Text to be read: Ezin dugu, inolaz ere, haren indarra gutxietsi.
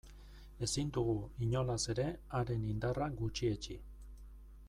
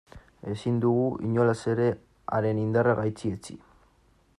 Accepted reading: first